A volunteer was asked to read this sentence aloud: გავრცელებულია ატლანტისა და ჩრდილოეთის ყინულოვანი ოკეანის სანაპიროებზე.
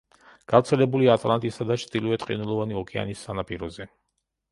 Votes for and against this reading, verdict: 0, 2, rejected